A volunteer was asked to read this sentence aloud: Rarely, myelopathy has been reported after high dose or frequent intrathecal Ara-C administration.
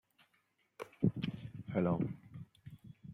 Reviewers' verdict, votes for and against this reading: rejected, 0, 2